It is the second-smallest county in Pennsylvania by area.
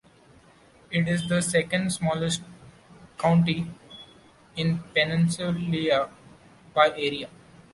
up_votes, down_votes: 0, 2